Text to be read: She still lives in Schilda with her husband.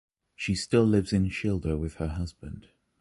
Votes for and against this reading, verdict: 2, 0, accepted